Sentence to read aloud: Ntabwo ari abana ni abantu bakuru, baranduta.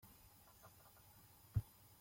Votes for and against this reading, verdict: 1, 2, rejected